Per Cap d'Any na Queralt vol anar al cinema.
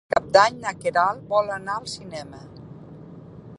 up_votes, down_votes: 1, 2